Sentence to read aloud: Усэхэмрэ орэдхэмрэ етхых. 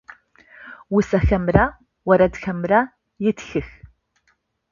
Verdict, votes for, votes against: accepted, 2, 0